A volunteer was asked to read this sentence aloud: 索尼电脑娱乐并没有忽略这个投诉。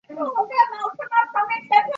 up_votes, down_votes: 2, 4